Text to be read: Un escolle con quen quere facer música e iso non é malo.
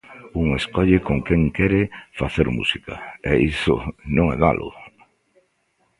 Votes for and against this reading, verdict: 2, 0, accepted